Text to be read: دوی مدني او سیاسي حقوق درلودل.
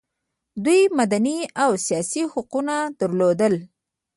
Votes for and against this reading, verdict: 2, 0, accepted